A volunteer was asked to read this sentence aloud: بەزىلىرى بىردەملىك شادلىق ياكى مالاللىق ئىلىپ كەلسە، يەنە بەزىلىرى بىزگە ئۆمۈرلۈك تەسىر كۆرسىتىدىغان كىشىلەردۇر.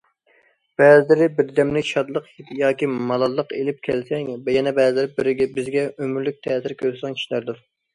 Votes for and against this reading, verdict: 1, 2, rejected